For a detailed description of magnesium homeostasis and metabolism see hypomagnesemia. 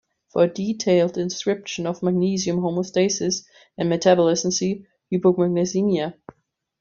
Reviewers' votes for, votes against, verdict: 1, 2, rejected